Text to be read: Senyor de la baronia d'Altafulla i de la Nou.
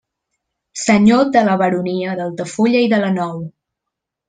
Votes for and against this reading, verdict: 2, 0, accepted